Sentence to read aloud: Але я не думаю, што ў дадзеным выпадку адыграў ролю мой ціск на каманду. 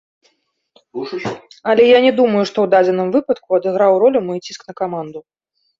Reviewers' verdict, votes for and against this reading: accepted, 2, 0